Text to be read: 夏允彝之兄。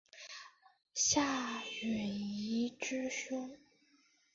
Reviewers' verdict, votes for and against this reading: accepted, 2, 0